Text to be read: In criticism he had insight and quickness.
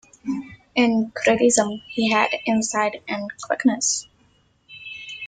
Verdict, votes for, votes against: rejected, 1, 2